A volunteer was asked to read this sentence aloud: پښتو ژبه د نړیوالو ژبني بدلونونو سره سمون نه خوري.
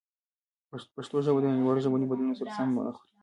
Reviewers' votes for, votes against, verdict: 2, 0, accepted